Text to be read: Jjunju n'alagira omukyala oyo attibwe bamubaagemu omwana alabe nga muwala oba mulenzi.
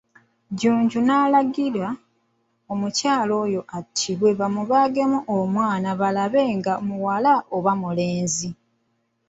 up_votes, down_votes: 0, 2